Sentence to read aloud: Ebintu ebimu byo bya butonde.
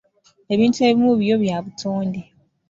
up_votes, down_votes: 2, 0